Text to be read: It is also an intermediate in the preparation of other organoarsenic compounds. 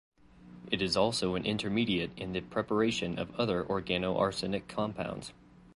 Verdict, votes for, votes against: accepted, 2, 0